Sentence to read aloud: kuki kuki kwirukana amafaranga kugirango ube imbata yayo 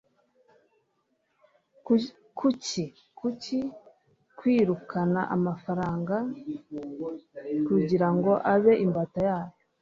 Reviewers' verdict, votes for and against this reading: rejected, 0, 2